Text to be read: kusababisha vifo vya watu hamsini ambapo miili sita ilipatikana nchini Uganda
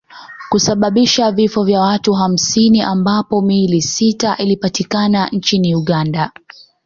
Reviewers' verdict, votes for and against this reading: accepted, 2, 1